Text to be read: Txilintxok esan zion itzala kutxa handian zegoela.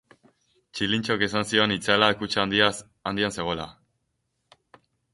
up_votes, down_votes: 2, 2